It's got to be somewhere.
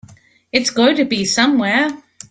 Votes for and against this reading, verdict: 1, 2, rejected